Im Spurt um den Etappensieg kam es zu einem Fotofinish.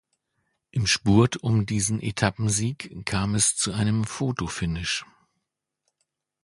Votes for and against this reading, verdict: 0, 2, rejected